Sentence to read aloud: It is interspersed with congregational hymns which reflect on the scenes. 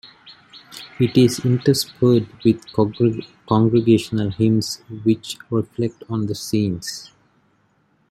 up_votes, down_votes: 2, 3